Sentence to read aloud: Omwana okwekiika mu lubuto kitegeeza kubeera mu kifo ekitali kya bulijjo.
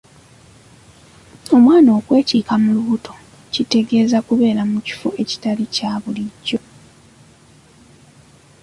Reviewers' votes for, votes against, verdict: 2, 1, accepted